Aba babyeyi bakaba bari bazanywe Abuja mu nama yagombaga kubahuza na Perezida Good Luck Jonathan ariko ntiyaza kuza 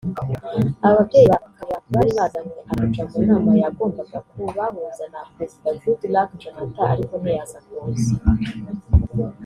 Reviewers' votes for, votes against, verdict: 0, 2, rejected